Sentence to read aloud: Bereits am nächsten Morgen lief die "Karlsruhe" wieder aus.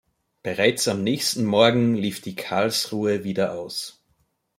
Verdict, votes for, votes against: accepted, 2, 0